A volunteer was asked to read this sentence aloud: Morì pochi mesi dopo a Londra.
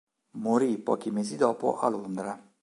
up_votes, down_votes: 3, 0